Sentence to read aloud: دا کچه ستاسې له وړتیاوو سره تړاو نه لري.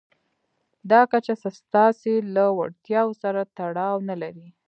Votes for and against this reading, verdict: 2, 0, accepted